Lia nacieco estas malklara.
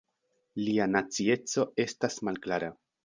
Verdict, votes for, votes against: accepted, 2, 0